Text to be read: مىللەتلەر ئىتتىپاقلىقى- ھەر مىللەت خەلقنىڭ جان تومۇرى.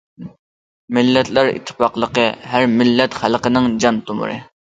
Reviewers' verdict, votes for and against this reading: accepted, 2, 0